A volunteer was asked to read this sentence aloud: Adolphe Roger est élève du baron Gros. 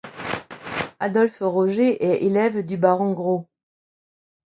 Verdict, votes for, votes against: accepted, 2, 0